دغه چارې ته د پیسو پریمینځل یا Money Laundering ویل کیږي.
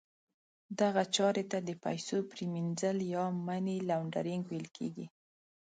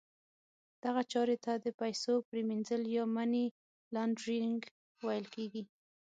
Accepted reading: first